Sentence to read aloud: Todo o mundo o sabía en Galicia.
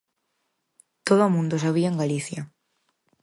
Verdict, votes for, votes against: accepted, 4, 0